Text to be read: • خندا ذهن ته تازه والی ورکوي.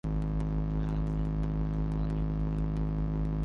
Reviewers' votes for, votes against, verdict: 0, 2, rejected